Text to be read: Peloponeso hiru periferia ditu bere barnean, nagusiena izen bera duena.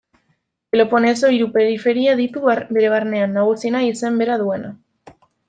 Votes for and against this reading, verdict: 0, 2, rejected